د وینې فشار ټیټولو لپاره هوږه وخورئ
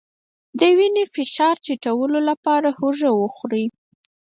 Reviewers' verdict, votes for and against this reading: rejected, 2, 4